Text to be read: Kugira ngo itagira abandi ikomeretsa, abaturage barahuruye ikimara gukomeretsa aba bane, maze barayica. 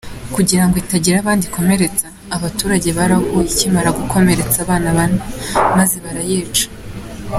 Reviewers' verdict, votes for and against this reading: accepted, 2, 0